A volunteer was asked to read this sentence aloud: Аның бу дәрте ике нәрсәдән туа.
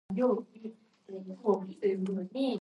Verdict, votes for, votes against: rejected, 0, 2